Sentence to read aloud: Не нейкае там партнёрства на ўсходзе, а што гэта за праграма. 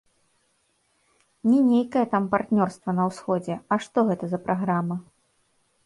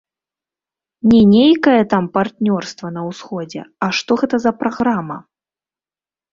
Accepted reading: first